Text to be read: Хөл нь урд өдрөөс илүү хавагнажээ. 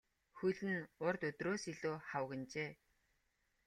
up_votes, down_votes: 1, 2